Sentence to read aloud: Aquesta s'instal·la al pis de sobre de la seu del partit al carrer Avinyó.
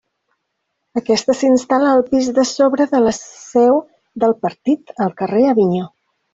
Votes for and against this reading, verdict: 3, 0, accepted